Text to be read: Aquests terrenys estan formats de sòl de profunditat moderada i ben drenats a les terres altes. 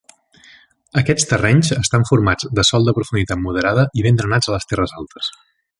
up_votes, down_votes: 3, 0